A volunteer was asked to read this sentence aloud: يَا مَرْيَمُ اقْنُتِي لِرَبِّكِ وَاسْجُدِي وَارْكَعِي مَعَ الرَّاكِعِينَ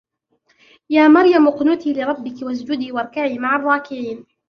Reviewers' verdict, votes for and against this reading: accepted, 2, 0